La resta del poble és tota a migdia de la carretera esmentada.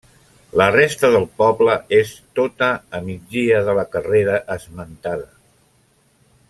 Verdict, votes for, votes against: rejected, 0, 2